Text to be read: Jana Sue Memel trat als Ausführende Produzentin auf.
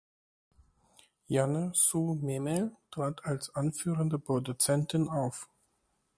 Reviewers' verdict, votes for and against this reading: rejected, 0, 2